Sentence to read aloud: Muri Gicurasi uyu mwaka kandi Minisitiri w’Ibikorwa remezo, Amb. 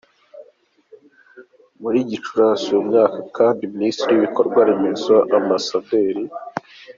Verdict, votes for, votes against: accepted, 2, 1